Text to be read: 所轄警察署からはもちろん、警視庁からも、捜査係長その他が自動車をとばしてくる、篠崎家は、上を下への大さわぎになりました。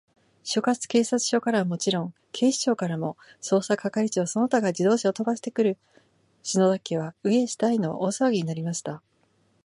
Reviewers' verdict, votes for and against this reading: rejected, 0, 2